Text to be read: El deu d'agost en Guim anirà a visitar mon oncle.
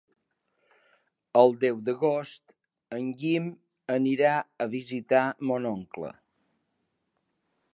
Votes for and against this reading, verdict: 3, 0, accepted